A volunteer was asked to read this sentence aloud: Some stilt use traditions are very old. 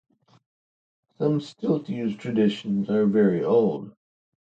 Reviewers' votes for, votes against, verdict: 1, 2, rejected